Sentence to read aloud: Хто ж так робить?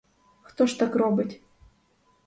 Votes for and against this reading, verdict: 4, 0, accepted